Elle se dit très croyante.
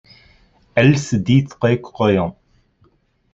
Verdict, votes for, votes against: rejected, 0, 2